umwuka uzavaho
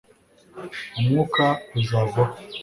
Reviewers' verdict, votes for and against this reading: accepted, 2, 0